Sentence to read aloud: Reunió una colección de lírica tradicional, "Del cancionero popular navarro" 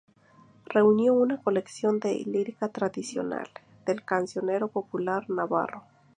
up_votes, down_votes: 2, 0